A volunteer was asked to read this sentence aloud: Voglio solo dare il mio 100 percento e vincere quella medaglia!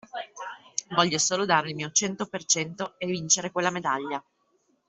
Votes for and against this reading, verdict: 0, 2, rejected